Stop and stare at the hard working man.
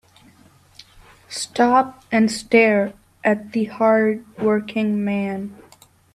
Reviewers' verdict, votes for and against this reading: accepted, 2, 0